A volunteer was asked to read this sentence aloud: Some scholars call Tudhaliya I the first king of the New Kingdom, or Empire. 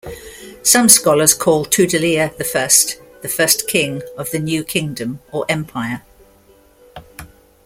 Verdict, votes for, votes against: rejected, 0, 2